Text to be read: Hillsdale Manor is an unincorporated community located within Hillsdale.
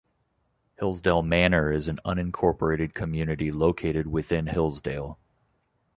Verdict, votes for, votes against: accepted, 2, 0